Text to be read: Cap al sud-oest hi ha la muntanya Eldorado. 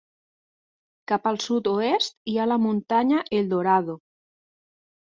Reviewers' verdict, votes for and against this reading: accepted, 2, 0